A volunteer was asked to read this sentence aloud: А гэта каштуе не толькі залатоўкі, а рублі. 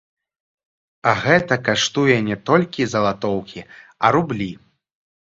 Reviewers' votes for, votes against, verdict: 2, 1, accepted